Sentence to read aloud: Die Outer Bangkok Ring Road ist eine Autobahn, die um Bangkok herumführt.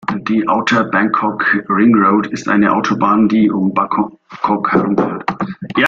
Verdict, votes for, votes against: rejected, 0, 2